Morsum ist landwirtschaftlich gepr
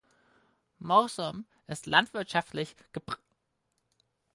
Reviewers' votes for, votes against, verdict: 2, 4, rejected